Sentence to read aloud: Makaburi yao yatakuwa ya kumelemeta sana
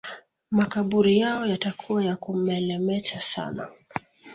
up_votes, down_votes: 2, 0